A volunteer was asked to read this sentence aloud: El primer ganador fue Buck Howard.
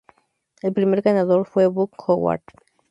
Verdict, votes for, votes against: accepted, 2, 0